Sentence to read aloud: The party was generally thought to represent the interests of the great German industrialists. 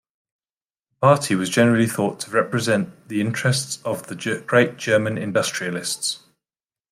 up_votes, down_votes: 1, 2